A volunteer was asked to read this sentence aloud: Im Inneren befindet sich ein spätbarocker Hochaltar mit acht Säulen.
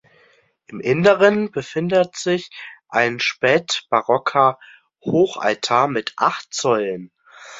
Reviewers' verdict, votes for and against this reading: accepted, 2, 0